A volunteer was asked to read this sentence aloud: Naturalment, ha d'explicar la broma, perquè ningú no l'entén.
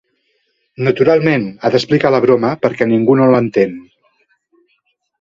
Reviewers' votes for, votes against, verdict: 2, 0, accepted